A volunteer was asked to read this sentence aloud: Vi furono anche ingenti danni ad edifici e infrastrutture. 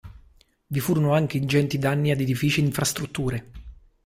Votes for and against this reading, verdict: 2, 0, accepted